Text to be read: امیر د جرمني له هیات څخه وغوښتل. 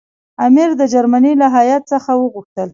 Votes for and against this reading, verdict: 2, 1, accepted